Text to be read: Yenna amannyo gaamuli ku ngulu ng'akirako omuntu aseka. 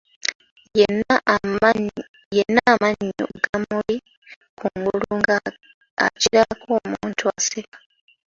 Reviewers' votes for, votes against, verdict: 0, 2, rejected